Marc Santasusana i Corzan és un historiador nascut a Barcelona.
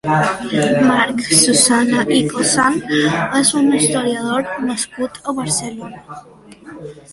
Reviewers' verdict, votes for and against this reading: rejected, 0, 2